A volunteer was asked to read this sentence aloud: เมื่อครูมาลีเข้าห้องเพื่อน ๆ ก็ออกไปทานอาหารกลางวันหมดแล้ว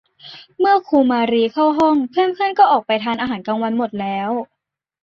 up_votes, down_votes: 2, 1